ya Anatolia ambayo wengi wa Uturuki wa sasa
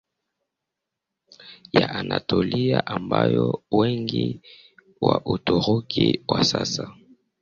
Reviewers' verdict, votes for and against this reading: rejected, 0, 2